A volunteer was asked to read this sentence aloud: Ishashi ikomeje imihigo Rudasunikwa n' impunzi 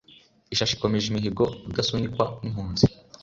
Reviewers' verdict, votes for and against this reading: accepted, 2, 0